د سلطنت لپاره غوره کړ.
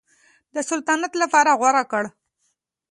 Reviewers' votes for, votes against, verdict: 2, 0, accepted